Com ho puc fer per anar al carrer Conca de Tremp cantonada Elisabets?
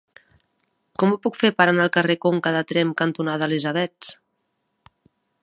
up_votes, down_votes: 2, 1